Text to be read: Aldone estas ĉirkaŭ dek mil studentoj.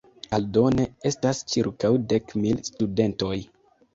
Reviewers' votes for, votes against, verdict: 2, 0, accepted